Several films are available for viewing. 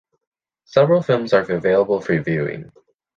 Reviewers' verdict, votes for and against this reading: rejected, 0, 2